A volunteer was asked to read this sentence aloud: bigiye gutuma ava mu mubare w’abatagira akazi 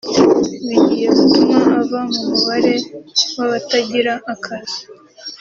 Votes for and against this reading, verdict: 3, 0, accepted